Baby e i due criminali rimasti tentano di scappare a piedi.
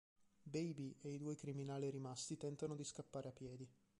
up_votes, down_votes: 1, 2